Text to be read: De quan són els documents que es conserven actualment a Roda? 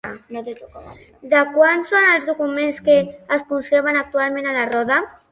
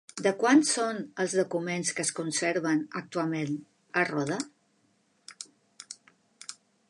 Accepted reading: second